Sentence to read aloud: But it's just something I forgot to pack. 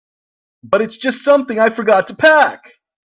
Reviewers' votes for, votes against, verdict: 2, 0, accepted